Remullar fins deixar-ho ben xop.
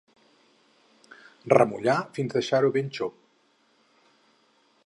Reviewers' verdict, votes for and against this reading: accepted, 4, 0